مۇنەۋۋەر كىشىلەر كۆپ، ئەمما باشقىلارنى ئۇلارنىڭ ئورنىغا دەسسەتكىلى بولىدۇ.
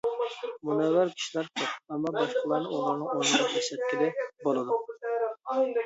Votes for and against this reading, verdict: 0, 2, rejected